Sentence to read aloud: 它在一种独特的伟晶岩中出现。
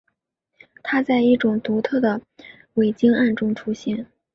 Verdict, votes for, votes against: accepted, 2, 1